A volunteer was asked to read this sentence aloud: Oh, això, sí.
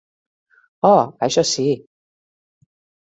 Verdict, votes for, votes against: accepted, 3, 0